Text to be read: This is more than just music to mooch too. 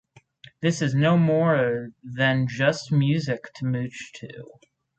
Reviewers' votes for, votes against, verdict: 0, 4, rejected